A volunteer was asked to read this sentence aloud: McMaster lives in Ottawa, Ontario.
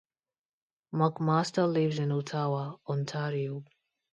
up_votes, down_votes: 2, 0